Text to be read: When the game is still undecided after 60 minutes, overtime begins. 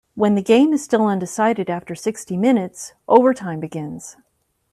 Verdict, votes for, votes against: rejected, 0, 2